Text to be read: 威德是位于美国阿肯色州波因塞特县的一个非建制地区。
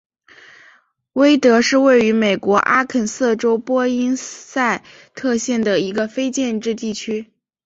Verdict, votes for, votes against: rejected, 1, 2